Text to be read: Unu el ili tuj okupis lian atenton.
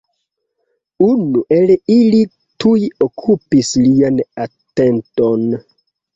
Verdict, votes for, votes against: accepted, 2, 0